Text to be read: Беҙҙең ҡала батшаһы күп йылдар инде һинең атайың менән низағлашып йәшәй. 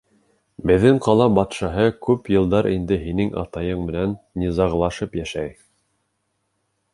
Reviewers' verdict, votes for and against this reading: accepted, 3, 0